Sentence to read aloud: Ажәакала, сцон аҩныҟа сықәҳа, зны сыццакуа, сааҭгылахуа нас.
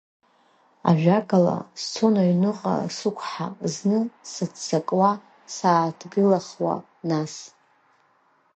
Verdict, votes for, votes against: accepted, 2, 0